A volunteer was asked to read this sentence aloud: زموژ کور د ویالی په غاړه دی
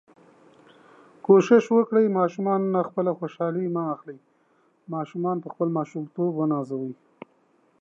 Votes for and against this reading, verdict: 0, 2, rejected